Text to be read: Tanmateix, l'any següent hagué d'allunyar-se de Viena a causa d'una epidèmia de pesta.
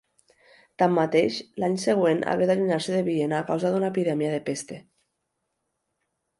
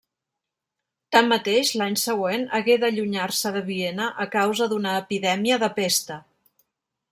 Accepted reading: second